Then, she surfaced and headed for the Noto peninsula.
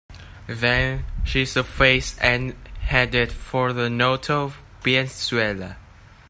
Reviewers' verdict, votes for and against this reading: rejected, 0, 2